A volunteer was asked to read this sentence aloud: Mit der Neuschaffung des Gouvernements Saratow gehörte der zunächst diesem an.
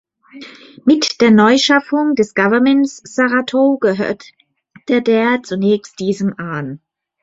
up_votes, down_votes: 0, 2